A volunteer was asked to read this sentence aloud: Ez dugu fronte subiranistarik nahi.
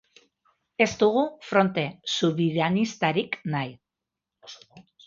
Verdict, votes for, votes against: rejected, 0, 2